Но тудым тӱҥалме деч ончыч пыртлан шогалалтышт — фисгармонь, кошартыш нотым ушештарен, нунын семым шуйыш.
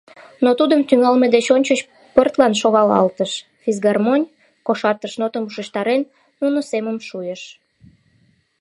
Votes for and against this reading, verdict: 1, 2, rejected